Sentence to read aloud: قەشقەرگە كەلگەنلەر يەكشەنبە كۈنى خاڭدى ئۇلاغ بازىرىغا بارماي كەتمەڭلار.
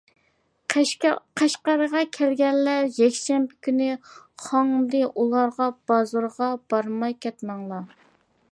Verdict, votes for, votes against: rejected, 0, 2